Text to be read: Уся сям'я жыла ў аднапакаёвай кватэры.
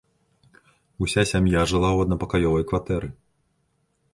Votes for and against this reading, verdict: 2, 0, accepted